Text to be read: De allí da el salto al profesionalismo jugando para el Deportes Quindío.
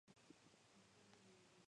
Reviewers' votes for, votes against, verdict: 2, 0, accepted